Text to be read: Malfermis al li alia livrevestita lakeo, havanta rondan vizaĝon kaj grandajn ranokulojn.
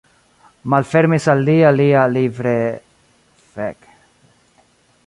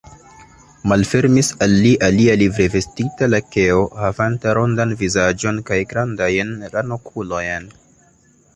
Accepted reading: second